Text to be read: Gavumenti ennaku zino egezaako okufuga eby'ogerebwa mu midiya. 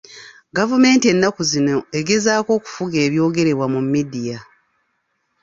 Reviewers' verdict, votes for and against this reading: accepted, 2, 0